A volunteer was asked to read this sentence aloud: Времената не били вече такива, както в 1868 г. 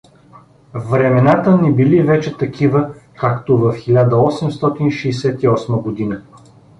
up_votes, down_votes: 0, 2